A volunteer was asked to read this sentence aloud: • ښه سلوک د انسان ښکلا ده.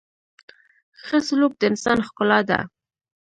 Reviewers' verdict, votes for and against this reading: accepted, 2, 0